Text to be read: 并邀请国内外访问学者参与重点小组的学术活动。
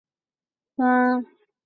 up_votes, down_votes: 0, 4